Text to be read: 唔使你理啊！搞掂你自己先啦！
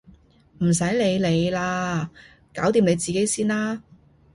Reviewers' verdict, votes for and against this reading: accepted, 2, 1